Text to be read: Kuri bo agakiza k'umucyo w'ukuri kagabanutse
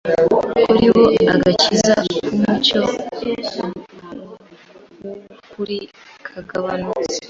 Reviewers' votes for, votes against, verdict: 1, 2, rejected